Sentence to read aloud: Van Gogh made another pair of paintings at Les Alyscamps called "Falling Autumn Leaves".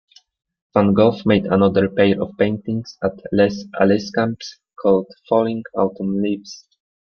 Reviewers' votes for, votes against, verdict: 1, 2, rejected